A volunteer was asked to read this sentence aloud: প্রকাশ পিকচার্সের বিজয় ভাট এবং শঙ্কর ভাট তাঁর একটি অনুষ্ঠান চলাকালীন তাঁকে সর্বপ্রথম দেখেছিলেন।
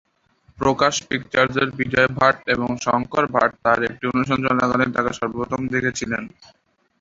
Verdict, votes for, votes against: rejected, 0, 2